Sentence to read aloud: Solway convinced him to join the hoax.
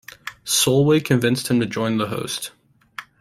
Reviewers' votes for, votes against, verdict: 0, 2, rejected